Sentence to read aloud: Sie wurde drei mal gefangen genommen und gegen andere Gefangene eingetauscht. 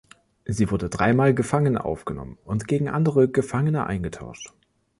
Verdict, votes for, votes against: rejected, 1, 2